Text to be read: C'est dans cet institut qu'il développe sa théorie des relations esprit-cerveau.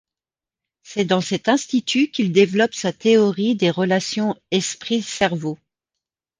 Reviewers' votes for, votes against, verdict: 2, 0, accepted